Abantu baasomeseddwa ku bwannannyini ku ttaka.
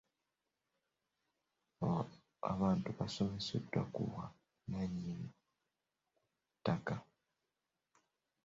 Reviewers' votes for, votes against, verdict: 0, 2, rejected